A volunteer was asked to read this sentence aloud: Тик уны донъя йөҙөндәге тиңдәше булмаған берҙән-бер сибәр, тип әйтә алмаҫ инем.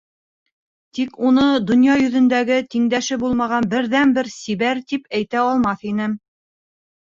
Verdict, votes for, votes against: accepted, 4, 2